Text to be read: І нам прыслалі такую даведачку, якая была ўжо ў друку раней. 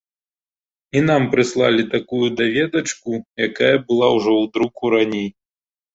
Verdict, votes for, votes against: accepted, 2, 0